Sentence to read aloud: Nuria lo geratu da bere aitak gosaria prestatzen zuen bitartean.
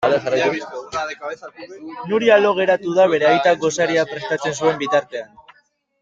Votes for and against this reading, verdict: 0, 2, rejected